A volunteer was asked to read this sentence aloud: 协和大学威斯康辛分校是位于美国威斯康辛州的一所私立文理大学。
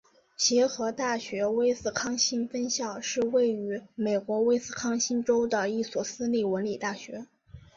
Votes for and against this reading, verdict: 6, 0, accepted